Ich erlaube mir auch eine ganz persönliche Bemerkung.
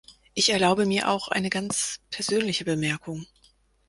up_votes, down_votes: 4, 0